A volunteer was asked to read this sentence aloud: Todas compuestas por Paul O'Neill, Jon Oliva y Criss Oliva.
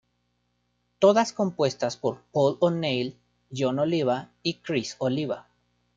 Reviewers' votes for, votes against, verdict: 2, 0, accepted